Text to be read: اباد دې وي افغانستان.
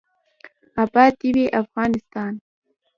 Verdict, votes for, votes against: accepted, 2, 0